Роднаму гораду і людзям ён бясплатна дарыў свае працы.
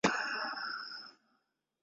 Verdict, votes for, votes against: rejected, 0, 2